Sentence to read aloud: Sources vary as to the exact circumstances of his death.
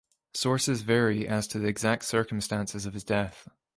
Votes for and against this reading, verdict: 2, 0, accepted